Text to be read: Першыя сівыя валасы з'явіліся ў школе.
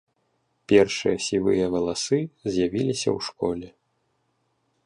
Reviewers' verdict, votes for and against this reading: accepted, 2, 0